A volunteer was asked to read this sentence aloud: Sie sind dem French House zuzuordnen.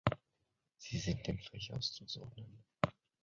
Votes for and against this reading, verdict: 0, 2, rejected